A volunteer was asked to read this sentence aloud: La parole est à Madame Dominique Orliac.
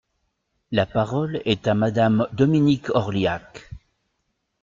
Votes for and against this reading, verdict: 2, 0, accepted